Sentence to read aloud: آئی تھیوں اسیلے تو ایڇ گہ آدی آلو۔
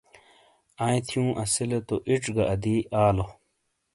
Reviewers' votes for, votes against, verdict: 2, 0, accepted